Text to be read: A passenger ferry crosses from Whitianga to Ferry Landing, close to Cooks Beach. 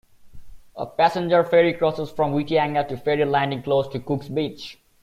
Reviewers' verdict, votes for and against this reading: accepted, 2, 1